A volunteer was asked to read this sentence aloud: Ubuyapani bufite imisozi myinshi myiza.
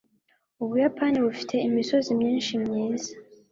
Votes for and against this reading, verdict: 3, 0, accepted